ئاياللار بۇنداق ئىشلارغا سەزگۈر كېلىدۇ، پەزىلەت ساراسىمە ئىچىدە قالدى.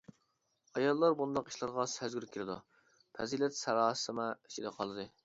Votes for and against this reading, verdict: 1, 2, rejected